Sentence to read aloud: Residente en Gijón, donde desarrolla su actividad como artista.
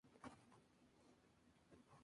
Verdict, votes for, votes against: rejected, 0, 4